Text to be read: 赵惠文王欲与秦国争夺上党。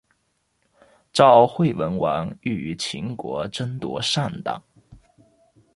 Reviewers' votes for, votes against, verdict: 2, 0, accepted